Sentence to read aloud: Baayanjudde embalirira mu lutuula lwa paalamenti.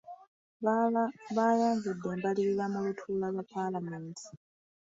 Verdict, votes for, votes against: rejected, 0, 2